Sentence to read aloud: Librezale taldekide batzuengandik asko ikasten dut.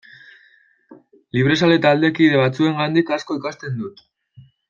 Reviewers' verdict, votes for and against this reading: accepted, 2, 0